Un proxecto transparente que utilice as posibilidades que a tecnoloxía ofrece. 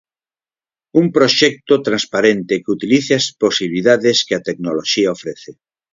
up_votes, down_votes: 0, 4